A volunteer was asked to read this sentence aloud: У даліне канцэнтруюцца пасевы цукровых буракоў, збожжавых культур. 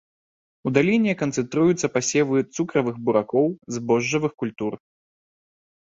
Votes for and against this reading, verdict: 1, 2, rejected